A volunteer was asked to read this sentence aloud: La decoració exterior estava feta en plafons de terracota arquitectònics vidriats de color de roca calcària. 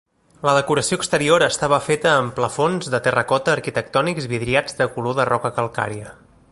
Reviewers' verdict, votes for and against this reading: accepted, 2, 0